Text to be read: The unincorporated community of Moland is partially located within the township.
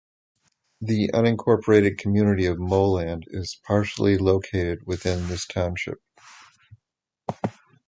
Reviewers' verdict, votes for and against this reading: rejected, 0, 2